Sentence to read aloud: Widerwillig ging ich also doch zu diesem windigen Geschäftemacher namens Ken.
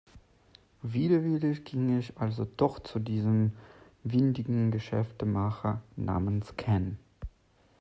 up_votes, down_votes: 2, 0